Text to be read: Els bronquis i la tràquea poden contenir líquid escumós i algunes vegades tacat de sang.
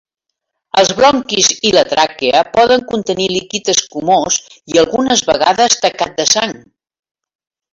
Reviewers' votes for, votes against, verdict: 2, 1, accepted